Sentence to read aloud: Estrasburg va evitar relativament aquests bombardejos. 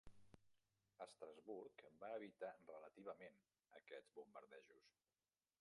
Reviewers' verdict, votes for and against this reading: rejected, 1, 2